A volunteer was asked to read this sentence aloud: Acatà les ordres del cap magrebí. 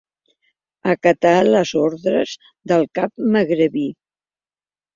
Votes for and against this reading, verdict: 2, 0, accepted